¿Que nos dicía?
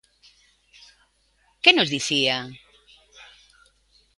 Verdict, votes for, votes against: accepted, 2, 0